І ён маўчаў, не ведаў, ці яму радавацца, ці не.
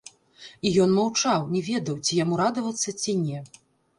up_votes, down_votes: 0, 2